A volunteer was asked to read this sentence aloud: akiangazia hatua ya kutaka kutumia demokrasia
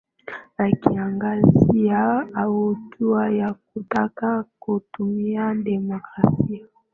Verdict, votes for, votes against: accepted, 14, 5